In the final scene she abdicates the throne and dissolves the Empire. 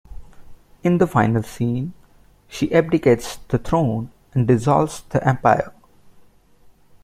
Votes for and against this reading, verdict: 2, 0, accepted